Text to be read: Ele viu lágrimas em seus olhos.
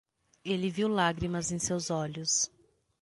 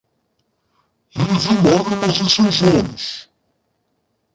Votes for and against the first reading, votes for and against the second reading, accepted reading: 6, 0, 0, 2, first